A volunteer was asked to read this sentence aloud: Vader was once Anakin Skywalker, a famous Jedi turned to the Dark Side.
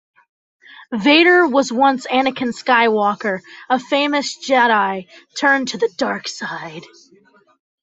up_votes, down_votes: 2, 0